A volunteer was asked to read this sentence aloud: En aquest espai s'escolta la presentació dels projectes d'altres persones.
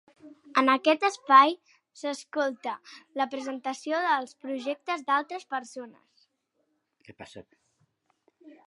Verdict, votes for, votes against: rejected, 1, 2